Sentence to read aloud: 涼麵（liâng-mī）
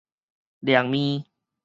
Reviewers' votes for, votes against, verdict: 2, 2, rejected